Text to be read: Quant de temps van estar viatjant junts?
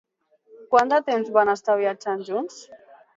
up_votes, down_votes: 2, 0